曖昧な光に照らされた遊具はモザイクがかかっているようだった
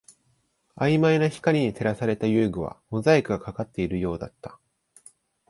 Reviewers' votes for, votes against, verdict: 0, 2, rejected